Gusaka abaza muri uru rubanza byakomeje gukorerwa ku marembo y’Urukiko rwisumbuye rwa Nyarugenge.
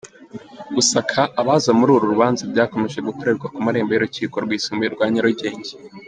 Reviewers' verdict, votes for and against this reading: accepted, 2, 1